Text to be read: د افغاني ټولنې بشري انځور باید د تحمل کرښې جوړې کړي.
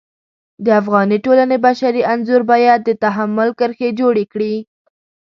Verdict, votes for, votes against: accepted, 2, 0